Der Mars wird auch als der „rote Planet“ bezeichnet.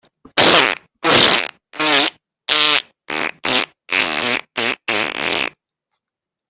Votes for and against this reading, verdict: 0, 2, rejected